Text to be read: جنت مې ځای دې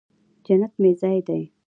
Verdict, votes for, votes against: rejected, 1, 2